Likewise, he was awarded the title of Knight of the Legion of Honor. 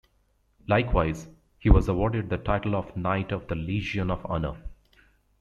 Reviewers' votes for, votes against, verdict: 2, 1, accepted